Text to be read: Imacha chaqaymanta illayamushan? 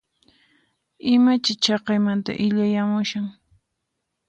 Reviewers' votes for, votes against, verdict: 2, 4, rejected